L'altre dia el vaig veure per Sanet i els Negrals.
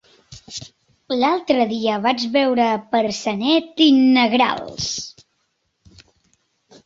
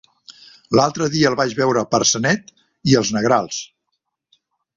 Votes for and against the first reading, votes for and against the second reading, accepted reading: 0, 2, 2, 0, second